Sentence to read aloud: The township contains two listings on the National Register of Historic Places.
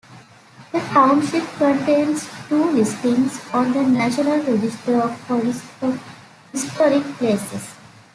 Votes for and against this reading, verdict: 0, 3, rejected